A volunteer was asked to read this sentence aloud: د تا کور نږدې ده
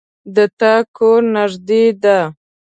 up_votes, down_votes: 2, 0